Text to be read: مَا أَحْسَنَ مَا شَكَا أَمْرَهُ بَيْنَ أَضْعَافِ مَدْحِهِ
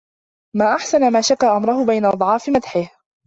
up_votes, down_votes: 2, 0